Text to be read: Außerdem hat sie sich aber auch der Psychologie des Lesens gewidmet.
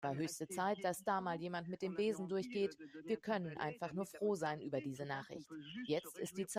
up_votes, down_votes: 0, 2